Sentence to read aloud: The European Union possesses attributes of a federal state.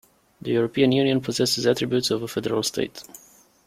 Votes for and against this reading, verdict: 2, 0, accepted